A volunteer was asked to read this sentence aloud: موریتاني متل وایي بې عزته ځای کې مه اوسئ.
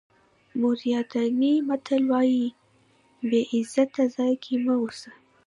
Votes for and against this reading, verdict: 2, 0, accepted